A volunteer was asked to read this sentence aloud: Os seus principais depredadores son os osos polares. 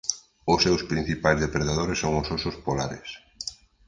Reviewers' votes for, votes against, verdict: 2, 0, accepted